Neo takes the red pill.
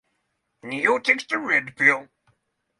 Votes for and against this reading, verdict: 3, 0, accepted